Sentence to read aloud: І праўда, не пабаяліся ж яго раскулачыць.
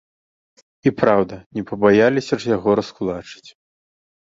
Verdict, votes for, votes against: accepted, 2, 0